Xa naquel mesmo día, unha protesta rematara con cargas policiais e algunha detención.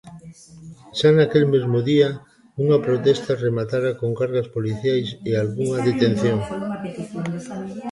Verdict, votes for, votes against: rejected, 0, 2